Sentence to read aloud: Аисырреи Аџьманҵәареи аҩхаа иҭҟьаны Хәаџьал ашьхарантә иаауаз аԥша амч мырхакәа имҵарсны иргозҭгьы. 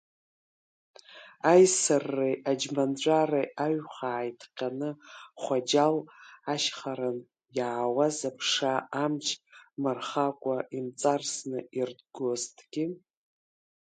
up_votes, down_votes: 0, 2